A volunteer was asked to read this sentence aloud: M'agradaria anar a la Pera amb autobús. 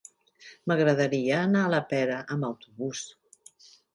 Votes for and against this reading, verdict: 3, 0, accepted